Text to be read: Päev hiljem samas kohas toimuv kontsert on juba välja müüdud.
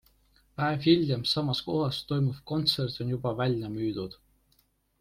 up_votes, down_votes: 2, 0